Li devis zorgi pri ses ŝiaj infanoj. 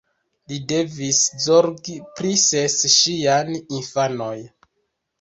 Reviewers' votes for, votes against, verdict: 2, 1, accepted